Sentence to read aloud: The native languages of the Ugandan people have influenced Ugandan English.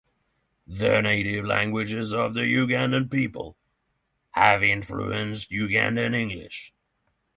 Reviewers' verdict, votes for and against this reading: accepted, 6, 0